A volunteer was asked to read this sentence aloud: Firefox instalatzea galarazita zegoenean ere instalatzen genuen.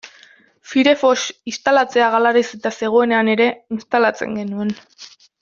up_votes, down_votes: 2, 0